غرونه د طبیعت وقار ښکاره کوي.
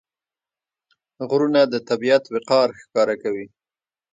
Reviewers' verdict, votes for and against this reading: accepted, 2, 1